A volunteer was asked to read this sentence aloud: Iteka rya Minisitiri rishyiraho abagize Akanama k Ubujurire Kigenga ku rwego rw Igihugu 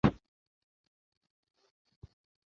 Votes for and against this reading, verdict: 0, 2, rejected